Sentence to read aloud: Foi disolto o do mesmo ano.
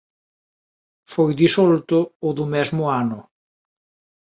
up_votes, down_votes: 2, 0